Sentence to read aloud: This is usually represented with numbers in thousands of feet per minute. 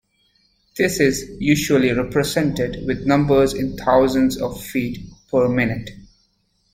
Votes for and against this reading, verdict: 2, 0, accepted